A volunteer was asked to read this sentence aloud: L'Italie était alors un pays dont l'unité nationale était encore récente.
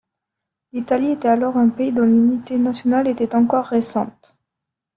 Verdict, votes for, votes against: accepted, 2, 0